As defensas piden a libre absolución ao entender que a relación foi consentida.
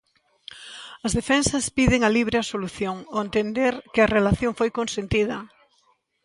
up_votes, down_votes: 2, 0